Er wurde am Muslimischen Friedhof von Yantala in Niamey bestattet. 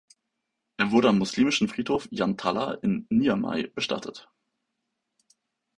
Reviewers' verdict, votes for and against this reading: rejected, 0, 2